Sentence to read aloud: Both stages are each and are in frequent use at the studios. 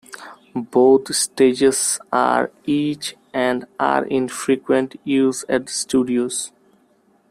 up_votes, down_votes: 2, 0